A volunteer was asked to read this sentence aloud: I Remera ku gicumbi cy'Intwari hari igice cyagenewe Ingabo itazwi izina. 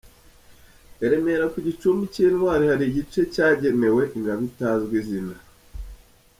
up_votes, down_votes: 2, 0